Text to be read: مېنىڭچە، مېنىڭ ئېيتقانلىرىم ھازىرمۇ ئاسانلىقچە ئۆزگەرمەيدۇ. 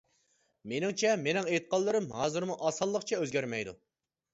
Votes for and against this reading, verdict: 2, 0, accepted